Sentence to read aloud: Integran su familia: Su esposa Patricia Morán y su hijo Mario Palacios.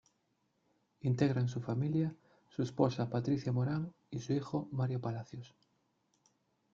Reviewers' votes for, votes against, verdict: 0, 2, rejected